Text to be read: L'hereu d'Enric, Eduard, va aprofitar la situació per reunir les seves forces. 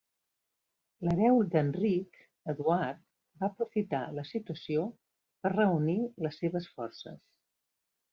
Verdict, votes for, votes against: accepted, 2, 0